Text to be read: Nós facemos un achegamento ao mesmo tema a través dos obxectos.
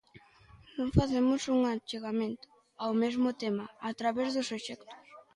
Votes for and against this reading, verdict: 0, 2, rejected